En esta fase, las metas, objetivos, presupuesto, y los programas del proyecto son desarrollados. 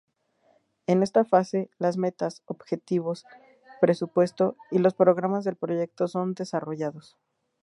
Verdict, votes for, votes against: accepted, 2, 0